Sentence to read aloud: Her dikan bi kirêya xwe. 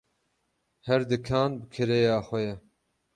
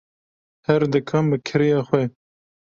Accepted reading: second